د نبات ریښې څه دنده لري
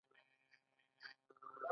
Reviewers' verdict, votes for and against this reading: accepted, 2, 0